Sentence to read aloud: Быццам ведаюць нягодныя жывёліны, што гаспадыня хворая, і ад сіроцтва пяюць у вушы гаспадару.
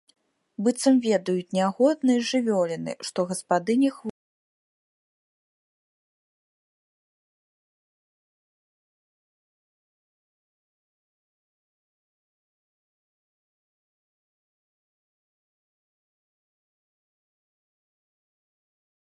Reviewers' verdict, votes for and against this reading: rejected, 0, 2